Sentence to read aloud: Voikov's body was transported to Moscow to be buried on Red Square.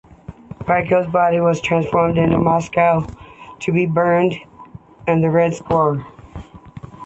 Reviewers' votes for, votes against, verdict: 1, 2, rejected